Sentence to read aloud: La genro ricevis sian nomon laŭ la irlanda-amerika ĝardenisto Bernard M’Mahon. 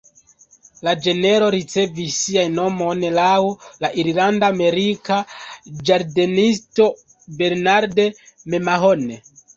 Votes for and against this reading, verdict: 0, 2, rejected